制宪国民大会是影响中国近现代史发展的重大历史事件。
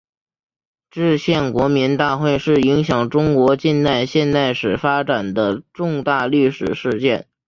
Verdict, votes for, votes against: rejected, 0, 2